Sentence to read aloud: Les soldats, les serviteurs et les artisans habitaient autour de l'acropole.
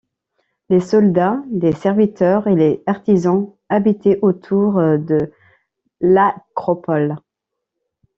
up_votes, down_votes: 0, 2